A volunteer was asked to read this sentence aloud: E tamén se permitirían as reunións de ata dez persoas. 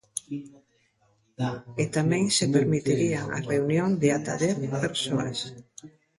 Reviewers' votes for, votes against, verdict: 0, 2, rejected